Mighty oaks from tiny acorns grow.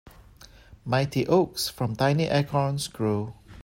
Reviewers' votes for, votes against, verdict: 2, 0, accepted